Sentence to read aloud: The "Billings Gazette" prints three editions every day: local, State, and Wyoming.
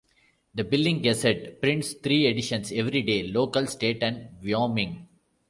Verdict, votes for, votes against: rejected, 1, 2